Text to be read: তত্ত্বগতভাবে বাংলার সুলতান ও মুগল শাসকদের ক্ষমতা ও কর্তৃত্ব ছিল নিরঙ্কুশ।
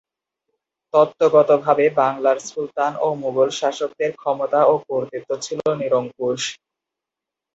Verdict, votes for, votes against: rejected, 0, 2